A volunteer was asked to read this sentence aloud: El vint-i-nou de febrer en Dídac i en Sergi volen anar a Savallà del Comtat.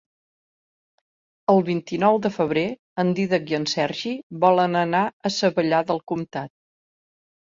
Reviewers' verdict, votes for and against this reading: accepted, 3, 1